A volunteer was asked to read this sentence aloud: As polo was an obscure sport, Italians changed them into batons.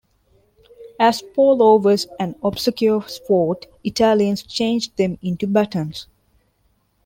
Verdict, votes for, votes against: rejected, 0, 2